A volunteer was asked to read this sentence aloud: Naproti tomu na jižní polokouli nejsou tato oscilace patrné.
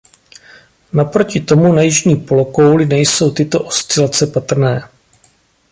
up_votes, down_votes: 1, 2